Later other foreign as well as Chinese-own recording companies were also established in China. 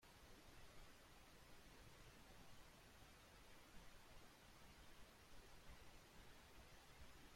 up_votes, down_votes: 0, 2